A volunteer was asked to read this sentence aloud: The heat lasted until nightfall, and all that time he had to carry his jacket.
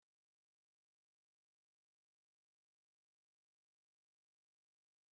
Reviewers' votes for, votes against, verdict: 0, 3, rejected